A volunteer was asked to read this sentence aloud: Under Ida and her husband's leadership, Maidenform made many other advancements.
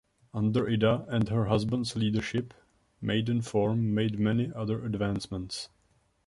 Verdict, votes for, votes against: rejected, 0, 2